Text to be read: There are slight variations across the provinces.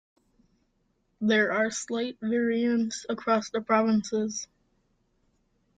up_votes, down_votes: 0, 2